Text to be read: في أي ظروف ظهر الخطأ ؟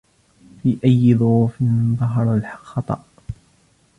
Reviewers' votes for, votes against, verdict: 2, 0, accepted